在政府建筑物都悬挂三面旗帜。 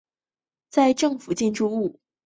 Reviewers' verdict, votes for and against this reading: rejected, 1, 2